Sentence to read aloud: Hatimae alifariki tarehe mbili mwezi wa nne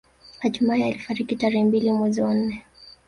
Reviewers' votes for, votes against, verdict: 2, 1, accepted